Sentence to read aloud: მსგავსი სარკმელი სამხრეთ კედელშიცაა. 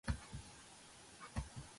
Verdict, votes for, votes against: rejected, 0, 2